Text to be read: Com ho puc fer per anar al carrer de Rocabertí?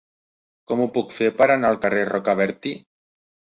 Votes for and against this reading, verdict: 0, 2, rejected